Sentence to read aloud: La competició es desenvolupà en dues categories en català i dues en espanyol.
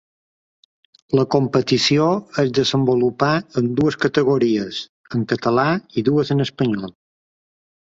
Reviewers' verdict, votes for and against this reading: accepted, 3, 0